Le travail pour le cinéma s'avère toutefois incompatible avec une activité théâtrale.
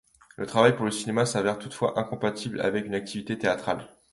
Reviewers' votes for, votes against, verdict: 2, 1, accepted